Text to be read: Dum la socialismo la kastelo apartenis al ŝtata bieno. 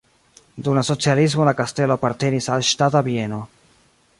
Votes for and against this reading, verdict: 2, 0, accepted